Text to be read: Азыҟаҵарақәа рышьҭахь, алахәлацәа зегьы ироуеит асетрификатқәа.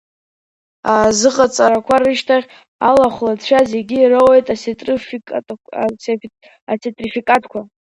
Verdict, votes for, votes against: rejected, 0, 2